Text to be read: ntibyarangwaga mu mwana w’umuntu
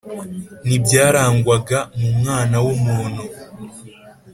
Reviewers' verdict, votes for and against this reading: accepted, 3, 0